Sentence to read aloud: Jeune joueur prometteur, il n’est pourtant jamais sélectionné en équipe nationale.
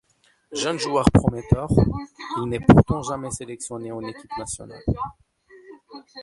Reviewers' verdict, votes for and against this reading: rejected, 0, 2